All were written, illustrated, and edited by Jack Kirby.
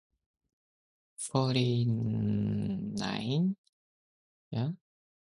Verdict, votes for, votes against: rejected, 0, 2